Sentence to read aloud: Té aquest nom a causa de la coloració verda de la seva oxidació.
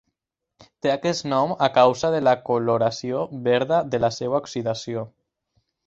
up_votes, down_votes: 4, 0